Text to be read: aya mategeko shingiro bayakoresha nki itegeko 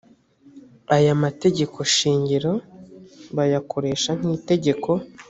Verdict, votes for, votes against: accepted, 2, 0